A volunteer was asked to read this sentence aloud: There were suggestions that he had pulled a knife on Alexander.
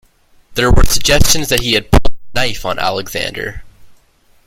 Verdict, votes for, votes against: rejected, 1, 2